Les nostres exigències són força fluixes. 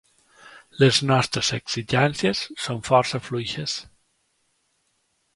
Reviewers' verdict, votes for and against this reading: accepted, 2, 0